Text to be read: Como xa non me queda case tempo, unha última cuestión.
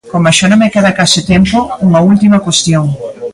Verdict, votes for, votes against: accepted, 2, 0